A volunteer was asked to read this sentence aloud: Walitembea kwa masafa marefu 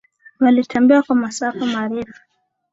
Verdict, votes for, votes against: accepted, 2, 0